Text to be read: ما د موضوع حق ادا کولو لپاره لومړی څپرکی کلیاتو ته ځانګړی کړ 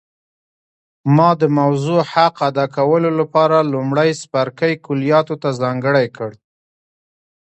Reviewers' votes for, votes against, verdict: 2, 0, accepted